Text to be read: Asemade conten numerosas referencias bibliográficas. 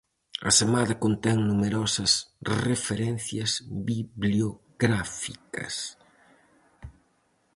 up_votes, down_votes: 0, 4